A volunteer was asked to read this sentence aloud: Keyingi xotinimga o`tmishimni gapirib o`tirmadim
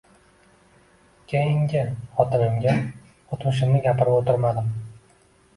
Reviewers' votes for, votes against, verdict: 2, 1, accepted